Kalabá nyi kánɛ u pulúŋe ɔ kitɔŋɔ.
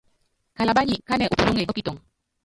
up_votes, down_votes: 1, 2